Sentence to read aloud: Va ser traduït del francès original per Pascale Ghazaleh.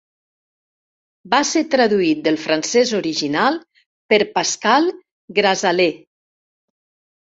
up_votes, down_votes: 1, 2